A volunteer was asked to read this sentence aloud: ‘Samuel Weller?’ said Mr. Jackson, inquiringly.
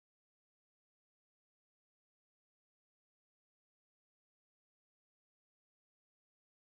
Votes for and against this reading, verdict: 0, 2, rejected